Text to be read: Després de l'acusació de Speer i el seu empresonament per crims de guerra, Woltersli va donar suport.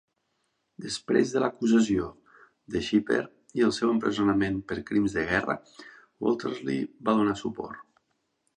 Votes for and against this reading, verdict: 1, 2, rejected